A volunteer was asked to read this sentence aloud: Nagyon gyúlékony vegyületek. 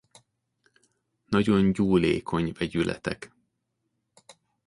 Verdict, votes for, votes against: accepted, 2, 0